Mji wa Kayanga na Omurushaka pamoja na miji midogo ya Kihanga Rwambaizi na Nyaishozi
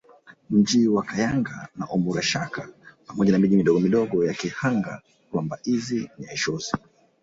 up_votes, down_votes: 1, 2